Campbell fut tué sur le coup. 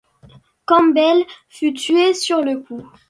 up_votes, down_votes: 2, 0